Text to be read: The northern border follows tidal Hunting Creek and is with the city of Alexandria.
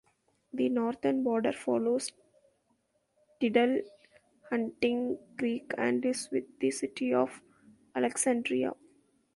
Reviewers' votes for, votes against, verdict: 0, 2, rejected